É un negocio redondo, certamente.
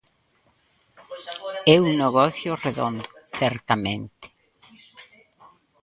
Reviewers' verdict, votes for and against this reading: rejected, 1, 2